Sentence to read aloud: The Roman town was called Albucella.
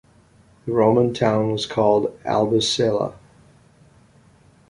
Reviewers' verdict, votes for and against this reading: rejected, 1, 2